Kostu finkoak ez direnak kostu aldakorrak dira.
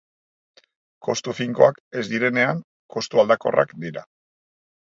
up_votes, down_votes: 0, 3